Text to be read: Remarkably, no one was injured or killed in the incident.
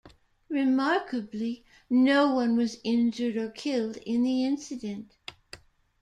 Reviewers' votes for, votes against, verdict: 0, 2, rejected